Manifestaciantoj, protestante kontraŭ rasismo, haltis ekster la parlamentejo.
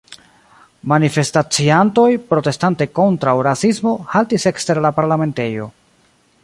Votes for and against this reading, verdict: 2, 1, accepted